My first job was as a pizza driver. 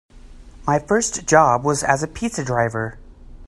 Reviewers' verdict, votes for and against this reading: accepted, 2, 0